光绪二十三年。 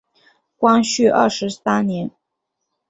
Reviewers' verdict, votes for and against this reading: accepted, 3, 0